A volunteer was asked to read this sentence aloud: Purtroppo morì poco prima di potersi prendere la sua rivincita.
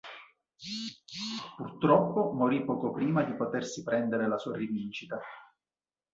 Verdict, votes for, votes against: rejected, 1, 2